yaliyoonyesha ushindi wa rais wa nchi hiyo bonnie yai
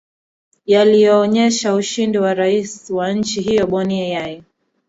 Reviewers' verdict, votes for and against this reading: rejected, 0, 2